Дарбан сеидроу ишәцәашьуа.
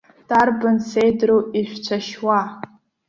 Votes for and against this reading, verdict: 2, 0, accepted